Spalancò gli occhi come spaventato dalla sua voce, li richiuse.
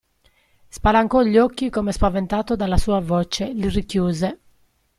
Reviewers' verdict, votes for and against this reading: accepted, 2, 1